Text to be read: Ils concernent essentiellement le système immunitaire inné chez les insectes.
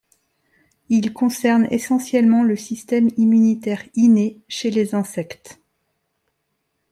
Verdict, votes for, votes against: accepted, 2, 0